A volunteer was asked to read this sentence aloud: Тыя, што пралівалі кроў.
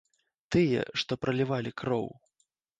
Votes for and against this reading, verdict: 2, 0, accepted